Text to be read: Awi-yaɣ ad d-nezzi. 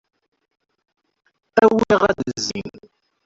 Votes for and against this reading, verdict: 1, 2, rejected